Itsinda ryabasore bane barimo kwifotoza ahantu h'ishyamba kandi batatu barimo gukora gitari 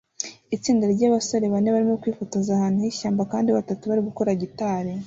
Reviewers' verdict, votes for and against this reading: accepted, 2, 0